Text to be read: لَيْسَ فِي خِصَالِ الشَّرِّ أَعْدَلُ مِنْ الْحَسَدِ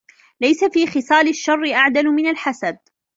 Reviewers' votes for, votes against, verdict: 2, 0, accepted